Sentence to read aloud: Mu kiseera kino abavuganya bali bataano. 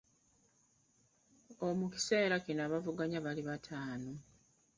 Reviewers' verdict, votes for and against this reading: rejected, 0, 2